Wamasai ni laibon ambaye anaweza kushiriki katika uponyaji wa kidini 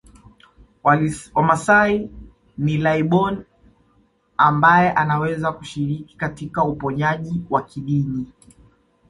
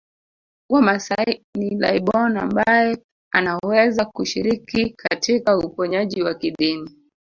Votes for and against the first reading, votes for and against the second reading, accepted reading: 2, 0, 1, 2, first